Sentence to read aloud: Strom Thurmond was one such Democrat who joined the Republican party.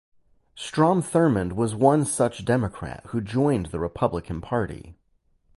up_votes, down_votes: 4, 0